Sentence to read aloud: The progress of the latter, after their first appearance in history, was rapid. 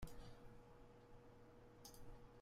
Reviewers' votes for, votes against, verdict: 0, 2, rejected